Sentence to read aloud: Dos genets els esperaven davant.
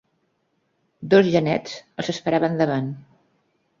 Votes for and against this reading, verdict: 0, 2, rejected